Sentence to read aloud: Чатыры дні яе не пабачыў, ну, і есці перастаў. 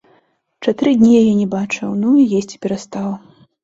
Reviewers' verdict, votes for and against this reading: accepted, 2, 1